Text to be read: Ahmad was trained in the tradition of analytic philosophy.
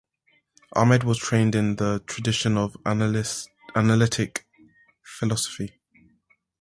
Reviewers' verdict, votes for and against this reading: rejected, 0, 3